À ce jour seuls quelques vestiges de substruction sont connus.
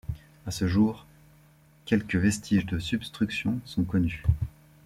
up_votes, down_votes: 0, 2